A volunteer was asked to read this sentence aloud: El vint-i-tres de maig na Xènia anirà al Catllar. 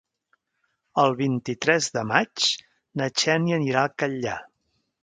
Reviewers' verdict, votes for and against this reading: accepted, 2, 1